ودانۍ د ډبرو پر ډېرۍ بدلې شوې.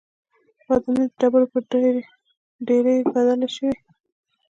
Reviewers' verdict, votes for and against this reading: accepted, 2, 0